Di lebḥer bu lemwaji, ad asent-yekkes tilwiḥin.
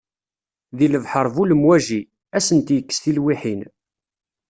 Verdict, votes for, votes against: accepted, 2, 0